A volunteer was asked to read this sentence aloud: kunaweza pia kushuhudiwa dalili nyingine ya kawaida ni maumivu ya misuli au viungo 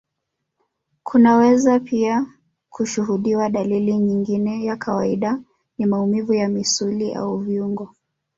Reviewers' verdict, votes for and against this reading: rejected, 1, 2